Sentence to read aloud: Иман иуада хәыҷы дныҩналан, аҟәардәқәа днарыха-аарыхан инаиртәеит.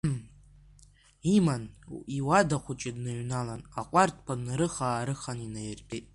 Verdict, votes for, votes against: accepted, 2, 0